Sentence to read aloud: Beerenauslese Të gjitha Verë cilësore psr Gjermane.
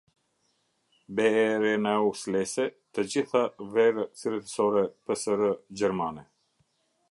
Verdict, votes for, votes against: rejected, 0, 2